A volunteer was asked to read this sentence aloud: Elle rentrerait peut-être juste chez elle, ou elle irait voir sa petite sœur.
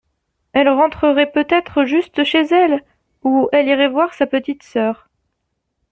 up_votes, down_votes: 2, 0